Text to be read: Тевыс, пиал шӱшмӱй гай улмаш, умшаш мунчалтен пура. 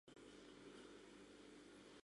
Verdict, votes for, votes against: rejected, 0, 2